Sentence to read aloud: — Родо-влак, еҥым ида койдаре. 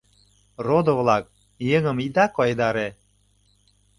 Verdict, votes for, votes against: accepted, 2, 0